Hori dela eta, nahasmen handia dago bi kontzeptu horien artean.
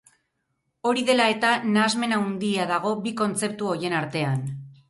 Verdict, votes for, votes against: rejected, 2, 2